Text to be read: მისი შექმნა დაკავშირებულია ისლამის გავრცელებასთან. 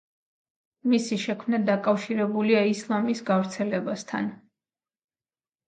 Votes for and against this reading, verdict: 2, 0, accepted